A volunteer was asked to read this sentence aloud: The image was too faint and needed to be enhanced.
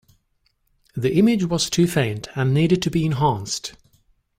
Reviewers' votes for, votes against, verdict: 2, 0, accepted